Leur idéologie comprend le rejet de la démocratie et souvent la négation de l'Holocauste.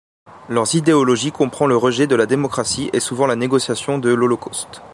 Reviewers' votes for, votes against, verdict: 0, 2, rejected